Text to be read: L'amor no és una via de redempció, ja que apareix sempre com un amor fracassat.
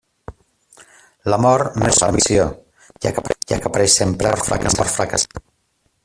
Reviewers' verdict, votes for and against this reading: rejected, 0, 2